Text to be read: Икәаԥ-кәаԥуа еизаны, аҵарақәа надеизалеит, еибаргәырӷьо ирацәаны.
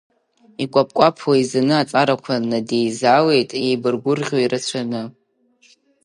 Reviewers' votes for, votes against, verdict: 2, 0, accepted